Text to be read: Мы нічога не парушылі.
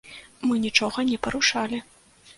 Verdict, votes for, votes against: rejected, 0, 2